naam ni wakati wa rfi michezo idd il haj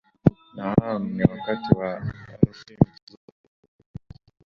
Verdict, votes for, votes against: rejected, 7, 10